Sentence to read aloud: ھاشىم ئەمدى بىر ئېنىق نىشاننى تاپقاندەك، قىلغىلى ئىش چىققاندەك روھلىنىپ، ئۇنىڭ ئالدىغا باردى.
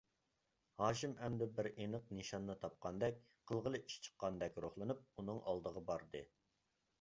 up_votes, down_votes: 2, 0